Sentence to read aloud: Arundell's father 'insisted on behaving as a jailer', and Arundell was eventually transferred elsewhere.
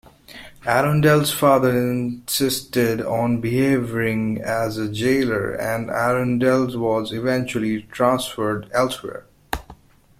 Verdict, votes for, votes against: rejected, 1, 2